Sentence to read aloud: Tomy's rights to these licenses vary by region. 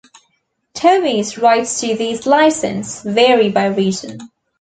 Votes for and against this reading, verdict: 0, 2, rejected